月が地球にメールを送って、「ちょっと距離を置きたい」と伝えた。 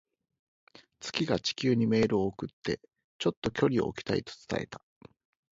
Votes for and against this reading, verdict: 4, 0, accepted